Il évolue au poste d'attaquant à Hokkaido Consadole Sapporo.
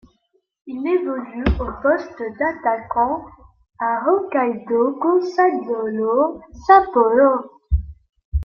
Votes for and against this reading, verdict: 1, 2, rejected